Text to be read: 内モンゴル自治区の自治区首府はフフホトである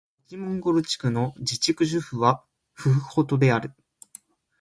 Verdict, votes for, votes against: rejected, 1, 2